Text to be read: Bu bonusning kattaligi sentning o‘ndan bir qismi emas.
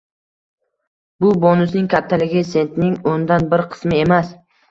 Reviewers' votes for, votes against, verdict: 2, 0, accepted